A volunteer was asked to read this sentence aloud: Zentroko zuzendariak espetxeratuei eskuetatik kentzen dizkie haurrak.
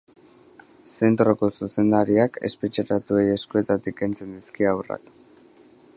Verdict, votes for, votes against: rejected, 1, 2